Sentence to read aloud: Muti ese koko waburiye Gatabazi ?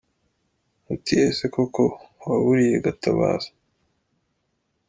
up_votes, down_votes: 0, 2